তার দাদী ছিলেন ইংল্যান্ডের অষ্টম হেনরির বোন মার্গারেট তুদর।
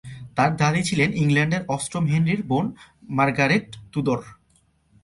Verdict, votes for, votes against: accepted, 2, 0